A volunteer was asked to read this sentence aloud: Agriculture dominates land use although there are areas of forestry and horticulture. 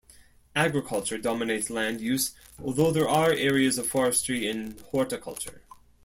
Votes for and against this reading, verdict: 2, 0, accepted